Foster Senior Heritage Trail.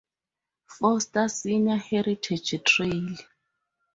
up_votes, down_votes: 4, 0